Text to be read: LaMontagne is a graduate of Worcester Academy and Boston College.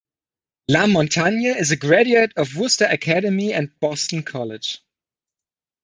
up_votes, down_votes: 0, 2